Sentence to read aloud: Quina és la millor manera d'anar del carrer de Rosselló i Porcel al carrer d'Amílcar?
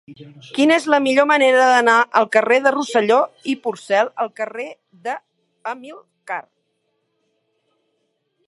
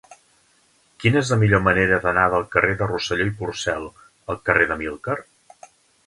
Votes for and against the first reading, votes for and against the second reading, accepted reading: 0, 2, 3, 0, second